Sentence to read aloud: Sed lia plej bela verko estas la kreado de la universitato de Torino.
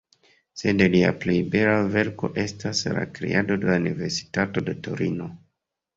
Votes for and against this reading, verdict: 3, 0, accepted